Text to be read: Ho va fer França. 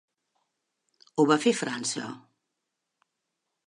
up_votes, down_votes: 4, 0